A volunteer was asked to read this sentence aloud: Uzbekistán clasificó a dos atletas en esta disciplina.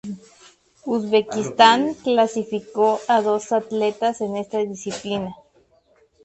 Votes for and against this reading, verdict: 2, 0, accepted